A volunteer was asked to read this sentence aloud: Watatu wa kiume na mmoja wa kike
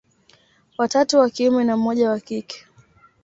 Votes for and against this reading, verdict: 2, 0, accepted